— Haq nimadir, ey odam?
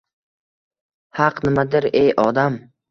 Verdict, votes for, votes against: accepted, 2, 0